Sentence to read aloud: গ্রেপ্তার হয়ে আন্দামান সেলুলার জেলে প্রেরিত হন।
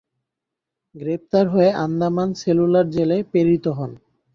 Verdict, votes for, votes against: accepted, 2, 0